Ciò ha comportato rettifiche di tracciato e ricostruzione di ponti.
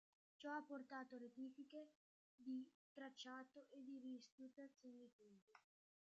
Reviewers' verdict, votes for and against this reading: rejected, 0, 2